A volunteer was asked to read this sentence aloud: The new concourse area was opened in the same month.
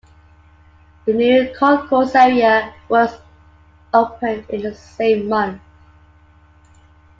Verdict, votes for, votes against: accepted, 2, 0